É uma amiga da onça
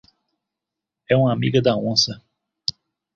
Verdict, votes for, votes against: accepted, 2, 0